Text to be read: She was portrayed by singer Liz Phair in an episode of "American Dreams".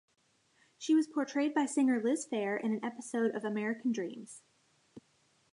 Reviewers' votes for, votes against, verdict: 2, 0, accepted